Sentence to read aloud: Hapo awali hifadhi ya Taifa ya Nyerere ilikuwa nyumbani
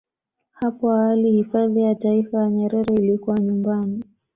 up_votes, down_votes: 2, 0